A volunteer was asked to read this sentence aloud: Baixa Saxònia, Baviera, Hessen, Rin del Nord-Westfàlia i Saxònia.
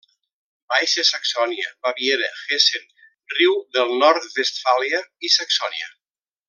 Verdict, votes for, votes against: rejected, 0, 2